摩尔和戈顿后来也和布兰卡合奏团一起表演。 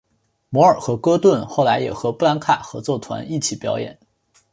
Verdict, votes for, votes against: accepted, 5, 0